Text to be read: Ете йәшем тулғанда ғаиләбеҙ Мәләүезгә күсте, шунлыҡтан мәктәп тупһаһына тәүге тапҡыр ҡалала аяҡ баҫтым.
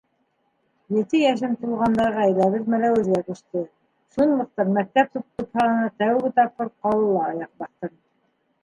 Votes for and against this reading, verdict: 0, 2, rejected